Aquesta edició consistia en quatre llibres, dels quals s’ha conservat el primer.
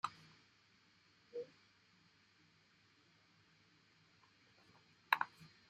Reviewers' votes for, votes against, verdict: 0, 2, rejected